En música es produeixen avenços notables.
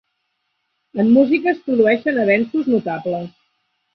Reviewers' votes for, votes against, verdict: 0, 3, rejected